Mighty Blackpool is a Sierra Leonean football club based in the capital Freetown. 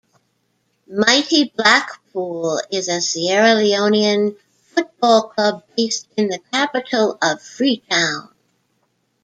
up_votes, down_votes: 0, 2